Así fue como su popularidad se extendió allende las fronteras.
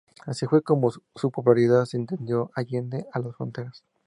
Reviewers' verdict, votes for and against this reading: rejected, 0, 2